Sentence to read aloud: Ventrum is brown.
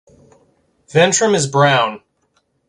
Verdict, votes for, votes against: accepted, 2, 0